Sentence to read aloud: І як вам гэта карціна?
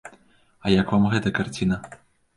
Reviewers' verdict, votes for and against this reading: rejected, 1, 2